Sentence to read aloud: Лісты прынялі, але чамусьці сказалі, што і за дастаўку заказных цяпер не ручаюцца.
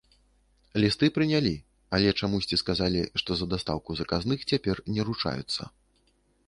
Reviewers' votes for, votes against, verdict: 0, 2, rejected